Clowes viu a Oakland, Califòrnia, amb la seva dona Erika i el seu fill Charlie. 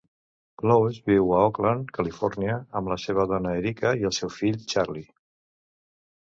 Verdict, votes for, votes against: accepted, 2, 0